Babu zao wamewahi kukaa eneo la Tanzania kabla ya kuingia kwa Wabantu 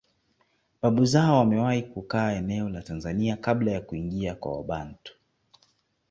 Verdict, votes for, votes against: accepted, 2, 0